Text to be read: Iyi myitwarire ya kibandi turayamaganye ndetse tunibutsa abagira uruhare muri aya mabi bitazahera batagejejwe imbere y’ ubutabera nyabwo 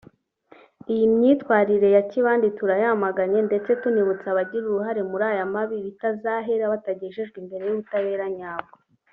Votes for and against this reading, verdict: 2, 0, accepted